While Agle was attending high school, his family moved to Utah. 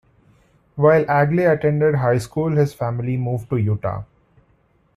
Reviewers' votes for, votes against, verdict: 0, 2, rejected